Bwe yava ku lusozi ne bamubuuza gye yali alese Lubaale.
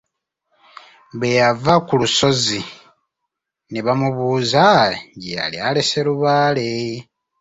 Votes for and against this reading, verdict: 0, 2, rejected